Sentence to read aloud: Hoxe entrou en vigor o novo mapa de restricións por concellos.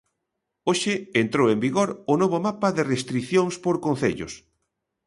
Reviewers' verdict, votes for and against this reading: accepted, 2, 0